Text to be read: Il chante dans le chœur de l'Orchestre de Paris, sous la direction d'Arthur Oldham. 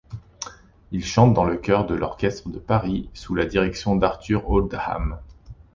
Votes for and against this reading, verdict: 2, 0, accepted